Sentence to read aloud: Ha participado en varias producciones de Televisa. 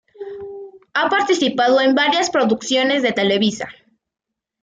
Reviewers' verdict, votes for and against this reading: accepted, 2, 0